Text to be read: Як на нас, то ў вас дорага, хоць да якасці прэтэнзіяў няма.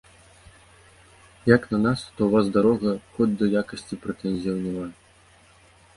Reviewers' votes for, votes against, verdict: 0, 2, rejected